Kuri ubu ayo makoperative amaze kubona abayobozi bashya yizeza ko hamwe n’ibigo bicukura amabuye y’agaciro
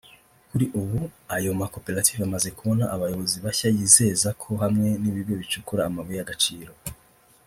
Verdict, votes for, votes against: accepted, 2, 0